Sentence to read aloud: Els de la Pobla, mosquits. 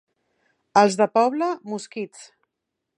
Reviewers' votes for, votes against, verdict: 0, 3, rejected